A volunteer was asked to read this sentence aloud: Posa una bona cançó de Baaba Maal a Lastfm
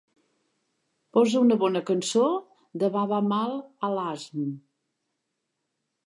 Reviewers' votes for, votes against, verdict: 0, 2, rejected